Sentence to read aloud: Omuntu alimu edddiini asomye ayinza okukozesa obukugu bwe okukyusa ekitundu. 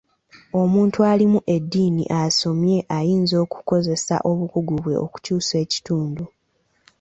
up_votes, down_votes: 2, 0